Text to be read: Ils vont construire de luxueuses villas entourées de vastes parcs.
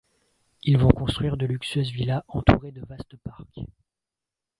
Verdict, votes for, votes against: rejected, 0, 2